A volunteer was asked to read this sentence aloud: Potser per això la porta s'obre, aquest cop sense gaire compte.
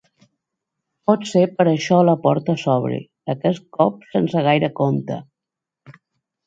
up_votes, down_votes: 3, 0